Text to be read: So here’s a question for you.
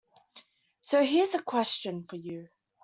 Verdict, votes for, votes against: accepted, 2, 0